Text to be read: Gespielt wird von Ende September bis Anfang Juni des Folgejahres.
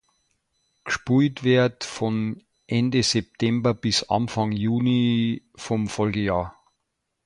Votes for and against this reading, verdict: 0, 2, rejected